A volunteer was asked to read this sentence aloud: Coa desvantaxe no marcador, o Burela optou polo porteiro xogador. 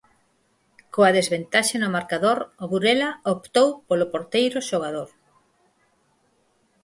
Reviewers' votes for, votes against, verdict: 0, 4, rejected